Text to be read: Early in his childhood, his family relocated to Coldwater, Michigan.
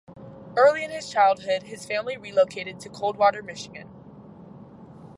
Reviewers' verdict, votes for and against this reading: rejected, 0, 2